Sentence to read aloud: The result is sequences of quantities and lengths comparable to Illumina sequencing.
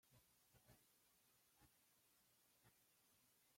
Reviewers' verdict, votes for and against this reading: rejected, 0, 2